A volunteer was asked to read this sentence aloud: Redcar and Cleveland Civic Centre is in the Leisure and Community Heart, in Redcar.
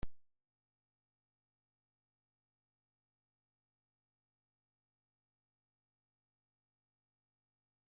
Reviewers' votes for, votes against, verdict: 0, 2, rejected